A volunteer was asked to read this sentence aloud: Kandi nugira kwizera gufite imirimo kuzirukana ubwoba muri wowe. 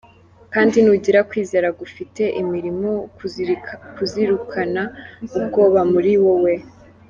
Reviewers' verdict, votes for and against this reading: rejected, 0, 2